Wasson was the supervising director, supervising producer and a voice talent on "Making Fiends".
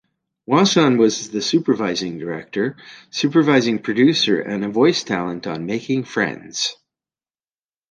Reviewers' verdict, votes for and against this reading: accepted, 2, 0